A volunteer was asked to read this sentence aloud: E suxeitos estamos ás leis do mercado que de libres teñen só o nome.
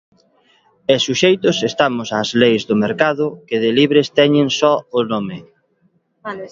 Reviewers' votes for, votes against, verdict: 2, 0, accepted